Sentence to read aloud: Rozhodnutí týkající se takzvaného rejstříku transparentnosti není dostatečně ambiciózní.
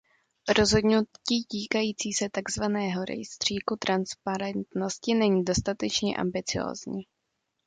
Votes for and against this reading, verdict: 1, 2, rejected